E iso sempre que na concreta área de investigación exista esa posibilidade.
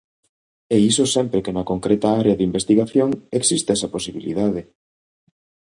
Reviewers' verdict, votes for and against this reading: accepted, 3, 0